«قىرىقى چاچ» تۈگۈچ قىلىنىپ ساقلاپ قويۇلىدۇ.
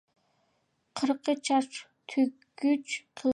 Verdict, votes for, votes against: rejected, 0, 2